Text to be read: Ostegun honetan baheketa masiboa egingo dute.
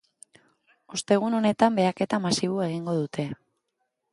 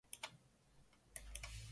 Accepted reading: first